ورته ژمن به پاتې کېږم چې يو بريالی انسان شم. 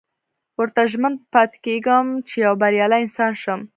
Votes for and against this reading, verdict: 0, 2, rejected